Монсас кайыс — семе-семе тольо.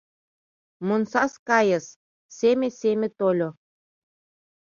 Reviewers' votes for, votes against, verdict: 2, 0, accepted